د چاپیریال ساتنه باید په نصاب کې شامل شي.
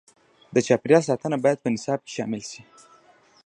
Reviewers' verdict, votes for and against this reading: accepted, 2, 0